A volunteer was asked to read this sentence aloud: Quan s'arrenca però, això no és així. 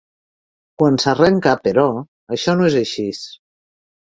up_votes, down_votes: 0, 2